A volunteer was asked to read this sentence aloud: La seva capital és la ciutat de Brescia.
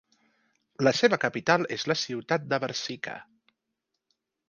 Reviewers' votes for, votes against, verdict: 0, 2, rejected